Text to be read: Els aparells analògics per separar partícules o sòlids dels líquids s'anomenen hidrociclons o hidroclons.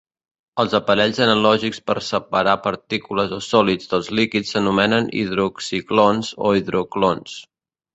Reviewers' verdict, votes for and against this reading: rejected, 1, 2